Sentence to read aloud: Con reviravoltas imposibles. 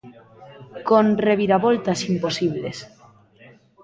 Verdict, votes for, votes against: rejected, 0, 2